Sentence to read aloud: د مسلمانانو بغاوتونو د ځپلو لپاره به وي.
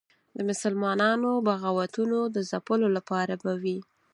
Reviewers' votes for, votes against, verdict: 4, 0, accepted